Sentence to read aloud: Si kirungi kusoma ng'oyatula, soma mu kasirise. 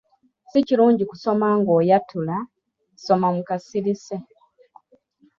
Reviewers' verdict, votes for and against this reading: accepted, 2, 0